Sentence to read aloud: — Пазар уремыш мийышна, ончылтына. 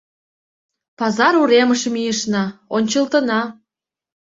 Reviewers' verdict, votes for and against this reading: accepted, 2, 0